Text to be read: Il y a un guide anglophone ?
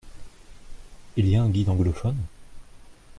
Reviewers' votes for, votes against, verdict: 2, 0, accepted